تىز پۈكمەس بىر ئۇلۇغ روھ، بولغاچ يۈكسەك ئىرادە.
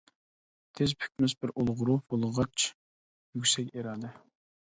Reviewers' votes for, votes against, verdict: 1, 2, rejected